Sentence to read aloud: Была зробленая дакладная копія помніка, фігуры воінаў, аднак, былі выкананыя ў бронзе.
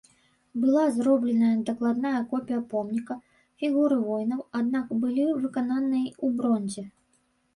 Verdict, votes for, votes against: rejected, 1, 2